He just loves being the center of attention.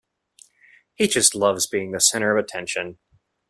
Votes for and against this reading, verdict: 2, 0, accepted